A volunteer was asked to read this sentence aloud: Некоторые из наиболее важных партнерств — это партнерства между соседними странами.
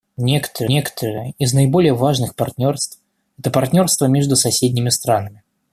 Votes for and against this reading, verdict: 1, 2, rejected